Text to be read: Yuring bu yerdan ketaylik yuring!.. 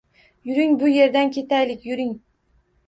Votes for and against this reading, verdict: 2, 0, accepted